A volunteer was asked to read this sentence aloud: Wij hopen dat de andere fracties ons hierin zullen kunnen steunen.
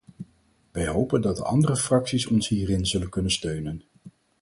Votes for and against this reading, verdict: 0, 4, rejected